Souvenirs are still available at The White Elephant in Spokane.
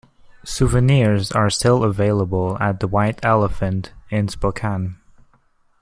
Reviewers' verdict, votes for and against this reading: accepted, 2, 1